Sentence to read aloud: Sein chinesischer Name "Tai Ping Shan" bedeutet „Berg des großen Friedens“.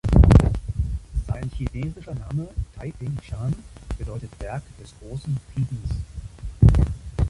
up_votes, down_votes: 1, 2